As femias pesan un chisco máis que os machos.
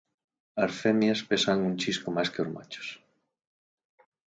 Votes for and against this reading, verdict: 4, 2, accepted